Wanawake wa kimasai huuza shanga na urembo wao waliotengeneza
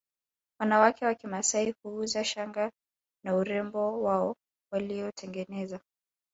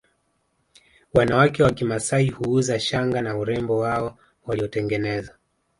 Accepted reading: second